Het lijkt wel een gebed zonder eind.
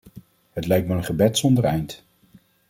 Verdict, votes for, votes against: accepted, 2, 0